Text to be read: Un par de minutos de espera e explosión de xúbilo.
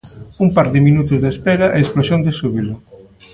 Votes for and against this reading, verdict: 2, 0, accepted